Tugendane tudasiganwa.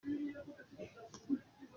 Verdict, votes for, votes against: rejected, 0, 2